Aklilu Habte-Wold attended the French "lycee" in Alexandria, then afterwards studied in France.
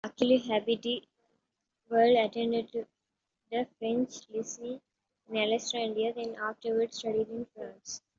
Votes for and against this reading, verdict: 2, 1, accepted